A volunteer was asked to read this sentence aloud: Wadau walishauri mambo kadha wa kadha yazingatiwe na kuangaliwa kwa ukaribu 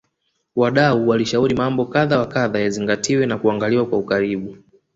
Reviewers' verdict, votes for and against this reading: rejected, 1, 2